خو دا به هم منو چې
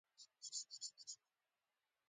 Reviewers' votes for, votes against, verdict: 0, 2, rejected